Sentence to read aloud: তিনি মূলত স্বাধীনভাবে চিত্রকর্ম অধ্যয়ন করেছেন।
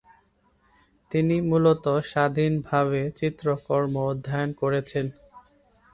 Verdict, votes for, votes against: accepted, 2, 0